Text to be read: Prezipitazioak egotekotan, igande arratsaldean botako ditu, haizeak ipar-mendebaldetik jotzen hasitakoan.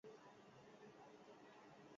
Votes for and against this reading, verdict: 0, 2, rejected